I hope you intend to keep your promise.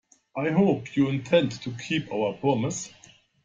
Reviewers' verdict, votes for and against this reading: rejected, 1, 2